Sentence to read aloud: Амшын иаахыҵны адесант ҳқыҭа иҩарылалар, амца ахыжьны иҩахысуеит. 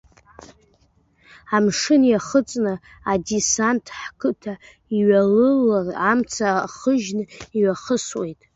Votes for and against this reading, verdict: 1, 2, rejected